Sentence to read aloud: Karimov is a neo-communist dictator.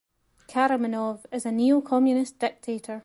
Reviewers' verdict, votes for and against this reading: rejected, 1, 2